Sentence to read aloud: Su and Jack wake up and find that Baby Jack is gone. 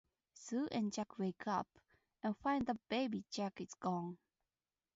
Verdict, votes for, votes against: rejected, 2, 2